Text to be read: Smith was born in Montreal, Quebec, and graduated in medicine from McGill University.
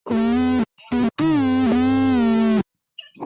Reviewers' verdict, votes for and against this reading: rejected, 0, 2